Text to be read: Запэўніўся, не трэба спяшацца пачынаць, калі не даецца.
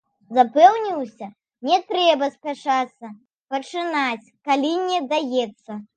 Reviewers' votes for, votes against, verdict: 2, 0, accepted